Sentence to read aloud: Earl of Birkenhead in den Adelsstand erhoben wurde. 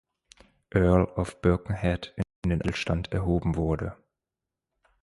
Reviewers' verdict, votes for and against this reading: rejected, 1, 2